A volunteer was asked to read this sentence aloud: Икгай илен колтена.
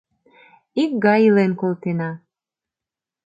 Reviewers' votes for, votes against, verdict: 2, 0, accepted